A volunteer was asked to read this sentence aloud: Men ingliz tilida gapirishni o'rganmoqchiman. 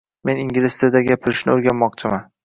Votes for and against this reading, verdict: 2, 0, accepted